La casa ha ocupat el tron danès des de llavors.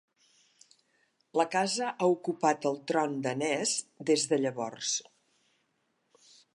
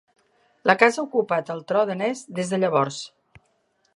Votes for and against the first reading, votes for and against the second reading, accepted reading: 3, 0, 0, 2, first